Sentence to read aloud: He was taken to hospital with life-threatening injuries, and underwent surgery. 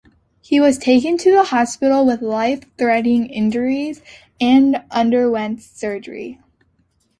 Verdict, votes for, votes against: accepted, 2, 1